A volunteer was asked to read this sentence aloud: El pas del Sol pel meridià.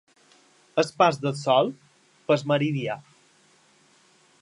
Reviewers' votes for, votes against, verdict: 2, 0, accepted